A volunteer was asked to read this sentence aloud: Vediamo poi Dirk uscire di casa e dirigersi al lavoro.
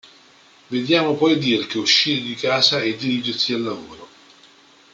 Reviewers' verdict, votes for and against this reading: accepted, 2, 0